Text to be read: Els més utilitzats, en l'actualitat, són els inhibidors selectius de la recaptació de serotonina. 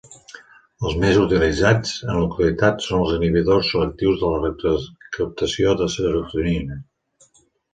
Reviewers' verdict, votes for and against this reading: rejected, 0, 2